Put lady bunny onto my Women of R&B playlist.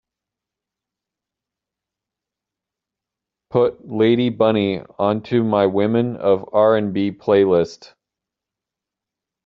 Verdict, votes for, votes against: accepted, 2, 0